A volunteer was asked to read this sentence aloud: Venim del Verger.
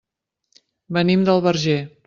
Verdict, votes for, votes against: accepted, 3, 0